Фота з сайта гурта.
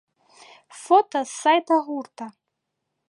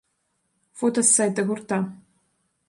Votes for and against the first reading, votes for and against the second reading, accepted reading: 0, 2, 2, 0, second